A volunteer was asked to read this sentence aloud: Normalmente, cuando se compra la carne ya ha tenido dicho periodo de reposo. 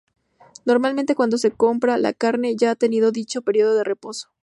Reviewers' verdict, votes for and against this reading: accepted, 2, 0